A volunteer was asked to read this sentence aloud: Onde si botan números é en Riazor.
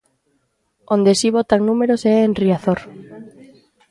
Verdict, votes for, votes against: accepted, 2, 1